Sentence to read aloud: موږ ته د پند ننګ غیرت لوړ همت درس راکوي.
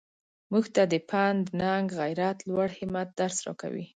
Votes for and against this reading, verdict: 2, 0, accepted